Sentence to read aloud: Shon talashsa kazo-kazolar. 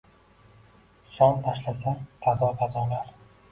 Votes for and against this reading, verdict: 1, 2, rejected